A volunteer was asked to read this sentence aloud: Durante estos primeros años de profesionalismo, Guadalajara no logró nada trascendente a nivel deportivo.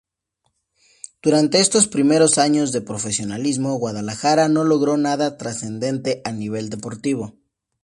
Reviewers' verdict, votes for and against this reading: accepted, 2, 0